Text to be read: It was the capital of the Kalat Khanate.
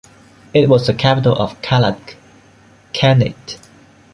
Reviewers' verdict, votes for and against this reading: rejected, 1, 3